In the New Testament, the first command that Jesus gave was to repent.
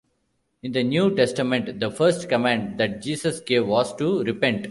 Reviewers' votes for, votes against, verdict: 2, 0, accepted